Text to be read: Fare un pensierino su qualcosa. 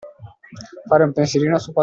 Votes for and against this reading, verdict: 0, 2, rejected